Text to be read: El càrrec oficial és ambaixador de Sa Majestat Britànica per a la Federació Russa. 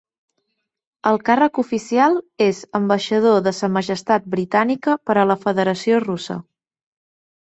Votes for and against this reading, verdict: 2, 0, accepted